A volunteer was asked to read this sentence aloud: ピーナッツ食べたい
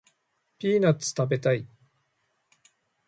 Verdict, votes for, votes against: accepted, 2, 0